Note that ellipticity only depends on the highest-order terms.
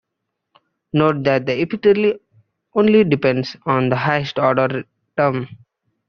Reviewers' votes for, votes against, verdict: 0, 2, rejected